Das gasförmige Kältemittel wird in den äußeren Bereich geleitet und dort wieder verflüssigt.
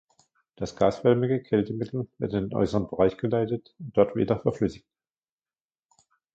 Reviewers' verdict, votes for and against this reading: rejected, 1, 2